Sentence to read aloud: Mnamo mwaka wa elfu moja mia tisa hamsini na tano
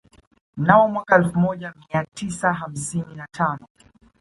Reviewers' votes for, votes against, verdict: 2, 0, accepted